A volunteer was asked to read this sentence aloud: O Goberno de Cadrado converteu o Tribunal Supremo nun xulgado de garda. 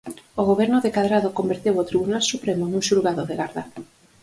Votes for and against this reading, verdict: 4, 0, accepted